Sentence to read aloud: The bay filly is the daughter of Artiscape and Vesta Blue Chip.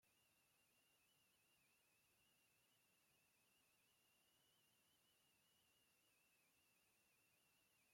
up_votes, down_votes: 0, 2